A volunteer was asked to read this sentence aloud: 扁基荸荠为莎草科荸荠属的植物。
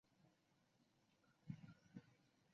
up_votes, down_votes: 0, 2